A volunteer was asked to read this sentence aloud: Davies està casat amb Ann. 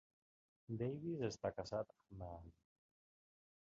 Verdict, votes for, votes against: rejected, 0, 2